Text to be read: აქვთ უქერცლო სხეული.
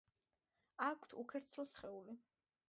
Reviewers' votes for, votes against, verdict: 0, 2, rejected